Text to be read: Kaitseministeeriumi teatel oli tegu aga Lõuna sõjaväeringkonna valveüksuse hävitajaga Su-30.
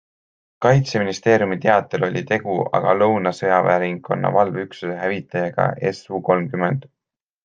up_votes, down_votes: 0, 2